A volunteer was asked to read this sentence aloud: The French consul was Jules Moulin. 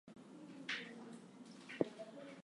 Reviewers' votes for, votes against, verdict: 0, 2, rejected